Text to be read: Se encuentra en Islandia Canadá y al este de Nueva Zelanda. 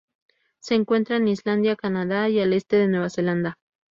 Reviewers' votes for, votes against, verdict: 4, 0, accepted